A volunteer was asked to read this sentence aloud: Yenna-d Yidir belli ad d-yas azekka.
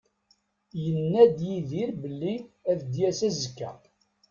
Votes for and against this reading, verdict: 2, 1, accepted